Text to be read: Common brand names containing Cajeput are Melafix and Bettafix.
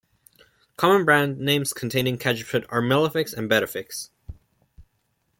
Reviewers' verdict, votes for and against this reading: accepted, 2, 1